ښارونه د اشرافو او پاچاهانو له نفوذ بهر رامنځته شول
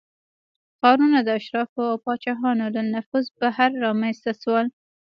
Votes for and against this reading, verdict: 3, 2, accepted